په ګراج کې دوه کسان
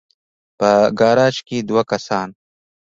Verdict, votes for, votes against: rejected, 0, 2